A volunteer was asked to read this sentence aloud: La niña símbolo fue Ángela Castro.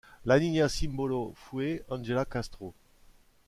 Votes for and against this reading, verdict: 2, 0, accepted